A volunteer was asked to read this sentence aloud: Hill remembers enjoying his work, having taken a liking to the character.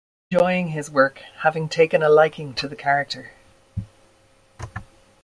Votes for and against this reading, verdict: 0, 2, rejected